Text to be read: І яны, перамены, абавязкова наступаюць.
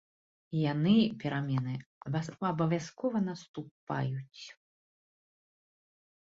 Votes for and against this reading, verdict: 1, 2, rejected